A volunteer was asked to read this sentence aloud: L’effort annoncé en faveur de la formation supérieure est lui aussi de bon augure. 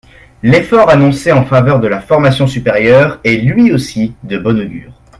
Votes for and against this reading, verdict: 2, 0, accepted